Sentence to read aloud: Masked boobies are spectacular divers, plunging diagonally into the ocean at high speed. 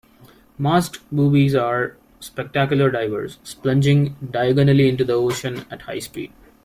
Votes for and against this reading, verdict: 0, 2, rejected